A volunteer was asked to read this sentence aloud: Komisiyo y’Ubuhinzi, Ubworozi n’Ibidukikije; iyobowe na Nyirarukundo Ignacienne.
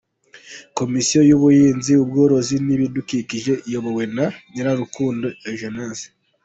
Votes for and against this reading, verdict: 0, 2, rejected